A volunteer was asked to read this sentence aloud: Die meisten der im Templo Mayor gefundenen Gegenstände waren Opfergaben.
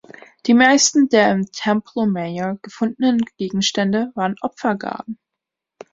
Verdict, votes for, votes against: rejected, 0, 2